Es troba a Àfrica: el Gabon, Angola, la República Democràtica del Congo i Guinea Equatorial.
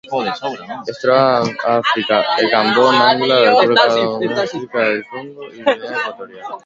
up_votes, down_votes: 1, 2